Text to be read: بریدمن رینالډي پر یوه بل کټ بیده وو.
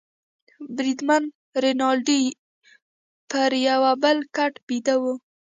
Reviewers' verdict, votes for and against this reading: rejected, 1, 2